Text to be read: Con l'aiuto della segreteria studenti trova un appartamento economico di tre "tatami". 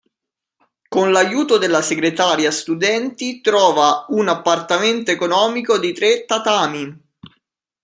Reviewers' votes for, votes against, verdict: 0, 2, rejected